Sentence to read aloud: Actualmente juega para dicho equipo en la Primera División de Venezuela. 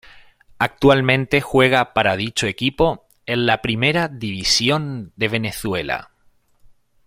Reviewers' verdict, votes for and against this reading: accepted, 2, 0